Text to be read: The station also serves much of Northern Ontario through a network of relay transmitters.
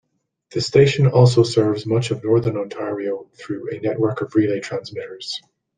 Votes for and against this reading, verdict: 2, 0, accepted